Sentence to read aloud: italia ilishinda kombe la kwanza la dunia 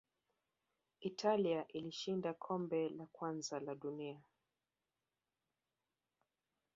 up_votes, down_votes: 2, 0